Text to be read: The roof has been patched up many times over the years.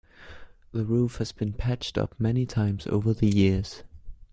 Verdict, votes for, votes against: accepted, 2, 0